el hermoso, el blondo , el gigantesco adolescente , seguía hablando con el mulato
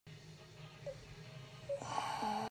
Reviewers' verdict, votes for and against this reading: rejected, 0, 2